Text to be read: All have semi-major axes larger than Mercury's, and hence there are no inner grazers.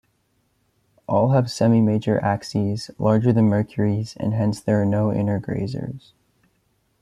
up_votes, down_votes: 0, 2